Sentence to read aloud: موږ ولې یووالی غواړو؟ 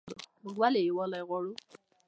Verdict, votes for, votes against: accepted, 2, 1